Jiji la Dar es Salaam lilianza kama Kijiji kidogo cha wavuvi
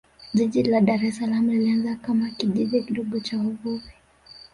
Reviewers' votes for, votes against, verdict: 1, 2, rejected